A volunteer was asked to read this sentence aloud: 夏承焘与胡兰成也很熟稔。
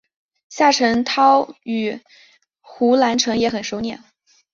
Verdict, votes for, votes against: accepted, 2, 0